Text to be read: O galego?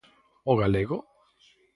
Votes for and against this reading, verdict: 4, 0, accepted